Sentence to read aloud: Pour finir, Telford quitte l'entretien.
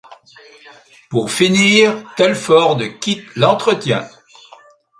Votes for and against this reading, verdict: 1, 2, rejected